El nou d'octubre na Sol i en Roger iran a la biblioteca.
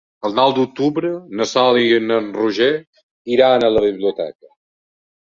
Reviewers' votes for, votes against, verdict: 2, 1, accepted